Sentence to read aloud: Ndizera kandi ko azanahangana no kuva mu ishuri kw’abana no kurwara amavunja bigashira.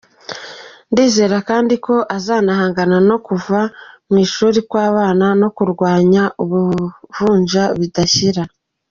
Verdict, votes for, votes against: rejected, 0, 2